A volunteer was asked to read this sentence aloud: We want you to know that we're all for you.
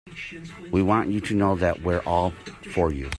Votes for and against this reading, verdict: 2, 0, accepted